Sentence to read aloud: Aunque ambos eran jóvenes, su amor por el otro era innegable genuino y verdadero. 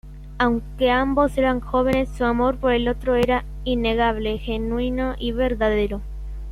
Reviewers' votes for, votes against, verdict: 2, 0, accepted